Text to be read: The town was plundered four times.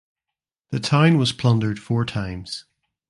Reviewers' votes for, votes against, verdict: 1, 2, rejected